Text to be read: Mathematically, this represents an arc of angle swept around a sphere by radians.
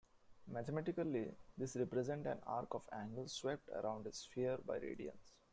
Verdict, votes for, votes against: rejected, 0, 2